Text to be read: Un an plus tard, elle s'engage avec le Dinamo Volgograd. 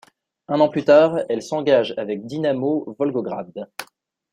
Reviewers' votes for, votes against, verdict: 0, 2, rejected